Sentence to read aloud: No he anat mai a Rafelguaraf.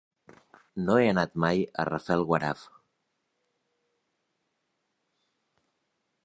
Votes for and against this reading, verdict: 3, 0, accepted